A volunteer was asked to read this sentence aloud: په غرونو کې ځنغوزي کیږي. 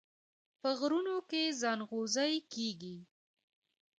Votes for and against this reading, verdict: 1, 2, rejected